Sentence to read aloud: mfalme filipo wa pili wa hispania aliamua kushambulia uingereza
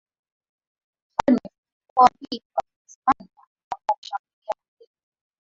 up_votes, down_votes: 0, 3